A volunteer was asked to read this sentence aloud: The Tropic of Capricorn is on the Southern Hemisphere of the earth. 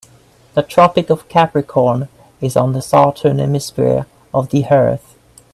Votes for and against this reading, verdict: 0, 2, rejected